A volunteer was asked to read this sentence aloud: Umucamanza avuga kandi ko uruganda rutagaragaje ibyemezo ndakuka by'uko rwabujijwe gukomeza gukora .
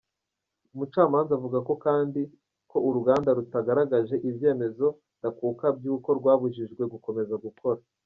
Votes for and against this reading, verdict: 2, 0, accepted